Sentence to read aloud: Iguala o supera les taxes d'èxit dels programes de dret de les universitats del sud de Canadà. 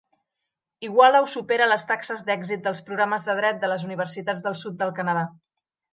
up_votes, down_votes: 1, 2